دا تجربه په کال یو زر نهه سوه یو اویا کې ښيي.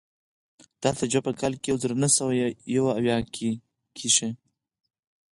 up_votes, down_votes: 2, 4